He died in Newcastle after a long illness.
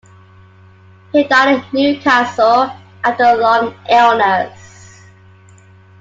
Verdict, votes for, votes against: accepted, 2, 0